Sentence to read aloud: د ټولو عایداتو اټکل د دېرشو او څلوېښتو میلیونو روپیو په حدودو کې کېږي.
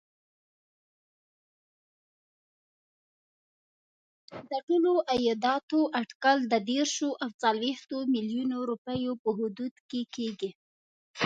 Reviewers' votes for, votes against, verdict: 1, 2, rejected